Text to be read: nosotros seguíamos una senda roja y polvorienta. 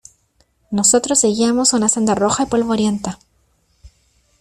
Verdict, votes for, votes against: rejected, 1, 2